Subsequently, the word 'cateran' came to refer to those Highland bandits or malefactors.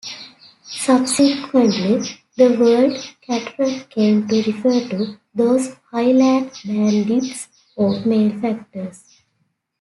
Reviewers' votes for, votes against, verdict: 2, 0, accepted